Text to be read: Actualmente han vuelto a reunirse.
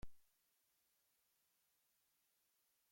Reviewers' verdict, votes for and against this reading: rejected, 0, 2